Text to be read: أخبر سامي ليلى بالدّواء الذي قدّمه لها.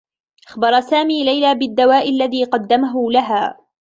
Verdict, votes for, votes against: accepted, 2, 0